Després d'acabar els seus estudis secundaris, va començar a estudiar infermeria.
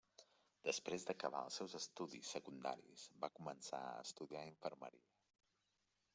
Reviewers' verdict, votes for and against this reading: accepted, 4, 2